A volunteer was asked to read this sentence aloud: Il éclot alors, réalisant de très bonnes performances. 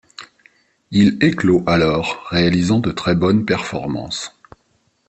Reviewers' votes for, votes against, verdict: 3, 0, accepted